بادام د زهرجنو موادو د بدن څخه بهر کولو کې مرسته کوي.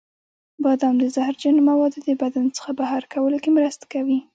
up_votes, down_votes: 2, 0